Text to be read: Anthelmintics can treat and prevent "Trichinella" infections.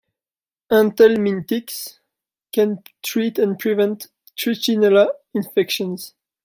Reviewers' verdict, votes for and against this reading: rejected, 1, 2